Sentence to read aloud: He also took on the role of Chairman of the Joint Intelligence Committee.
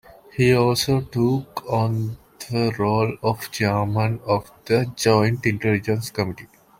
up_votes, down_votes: 2, 1